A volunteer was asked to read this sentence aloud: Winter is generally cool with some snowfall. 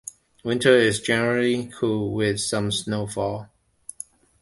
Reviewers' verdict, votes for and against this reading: accepted, 2, 0